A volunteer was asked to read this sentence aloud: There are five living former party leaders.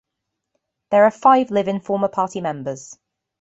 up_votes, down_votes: 0, 2